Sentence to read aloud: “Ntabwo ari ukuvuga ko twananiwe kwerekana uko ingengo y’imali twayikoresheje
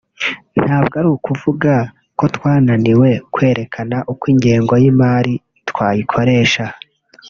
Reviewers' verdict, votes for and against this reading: rejected, 1, 2